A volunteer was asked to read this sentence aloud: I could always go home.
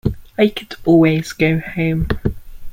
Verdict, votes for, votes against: accepted, 2, 0